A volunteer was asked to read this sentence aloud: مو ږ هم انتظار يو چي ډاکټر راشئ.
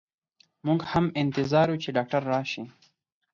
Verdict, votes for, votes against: accepted, 4, 0